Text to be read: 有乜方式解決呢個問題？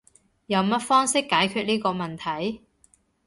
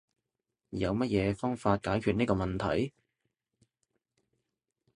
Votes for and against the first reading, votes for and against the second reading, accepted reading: 2, 0, 0, 2, first